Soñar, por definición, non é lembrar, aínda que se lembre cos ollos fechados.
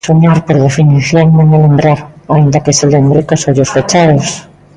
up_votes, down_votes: 0, 2